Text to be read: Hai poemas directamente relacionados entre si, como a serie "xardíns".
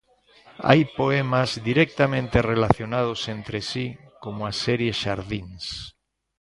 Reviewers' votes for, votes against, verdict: 2, 0, accepted